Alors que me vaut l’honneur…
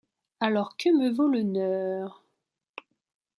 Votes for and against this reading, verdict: 2, 0, accepted